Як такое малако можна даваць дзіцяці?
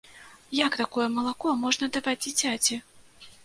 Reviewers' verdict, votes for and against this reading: accepted, 2, 0